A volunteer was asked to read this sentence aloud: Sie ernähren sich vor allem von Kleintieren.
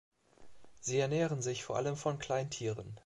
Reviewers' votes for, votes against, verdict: 3, 0, accepted